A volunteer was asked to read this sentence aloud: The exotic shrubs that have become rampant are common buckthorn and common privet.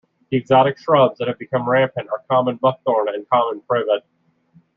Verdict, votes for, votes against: rejected, 1, 2